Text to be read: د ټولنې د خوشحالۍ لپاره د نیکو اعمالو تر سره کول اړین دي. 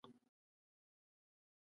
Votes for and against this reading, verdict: 0, 2, rejected